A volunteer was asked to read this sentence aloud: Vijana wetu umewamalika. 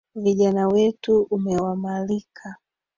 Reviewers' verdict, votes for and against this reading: accepted, 3, 2